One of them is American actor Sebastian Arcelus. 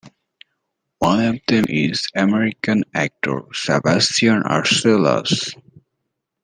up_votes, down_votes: 2, 0